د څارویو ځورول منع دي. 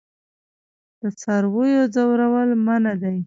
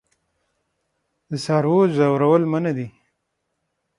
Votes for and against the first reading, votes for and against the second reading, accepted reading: 1, 2, 9, 0, second